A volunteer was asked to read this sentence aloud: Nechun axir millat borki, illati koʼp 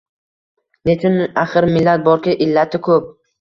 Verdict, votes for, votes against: accepted, 2, 0